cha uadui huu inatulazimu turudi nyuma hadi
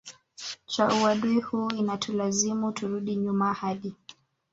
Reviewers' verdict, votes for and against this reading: accepted, 4, 3